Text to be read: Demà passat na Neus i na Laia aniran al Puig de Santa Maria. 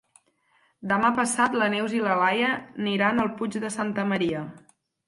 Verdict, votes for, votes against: rejected, 0, 4